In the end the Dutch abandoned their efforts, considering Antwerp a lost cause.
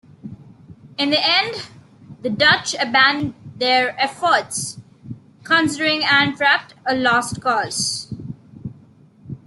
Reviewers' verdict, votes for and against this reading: rejected, 0, 2